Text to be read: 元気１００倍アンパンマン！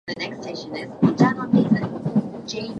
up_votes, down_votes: 0, 2